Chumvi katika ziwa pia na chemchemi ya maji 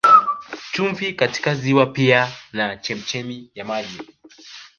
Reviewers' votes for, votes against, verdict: 3, 0, accepted